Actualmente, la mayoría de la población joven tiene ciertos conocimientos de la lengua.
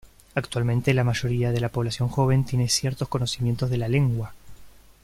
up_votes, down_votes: 2, 0